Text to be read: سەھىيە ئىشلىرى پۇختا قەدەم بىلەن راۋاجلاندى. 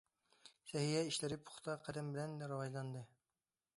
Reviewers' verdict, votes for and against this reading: accepted, 2, 0